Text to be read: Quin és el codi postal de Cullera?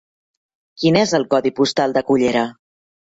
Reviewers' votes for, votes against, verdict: 3, 0, accepted